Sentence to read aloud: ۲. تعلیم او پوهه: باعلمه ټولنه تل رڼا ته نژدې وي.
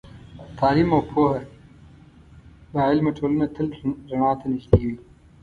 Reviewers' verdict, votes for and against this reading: rejected, 0, 2